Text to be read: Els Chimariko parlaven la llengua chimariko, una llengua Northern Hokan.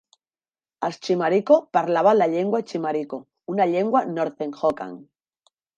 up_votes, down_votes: 1, 2